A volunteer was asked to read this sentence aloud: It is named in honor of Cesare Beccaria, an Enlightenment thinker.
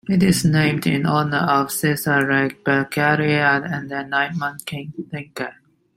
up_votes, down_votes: 0, 2